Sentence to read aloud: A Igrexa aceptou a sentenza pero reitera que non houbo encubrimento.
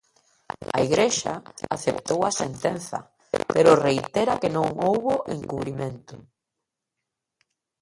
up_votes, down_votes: 0, 2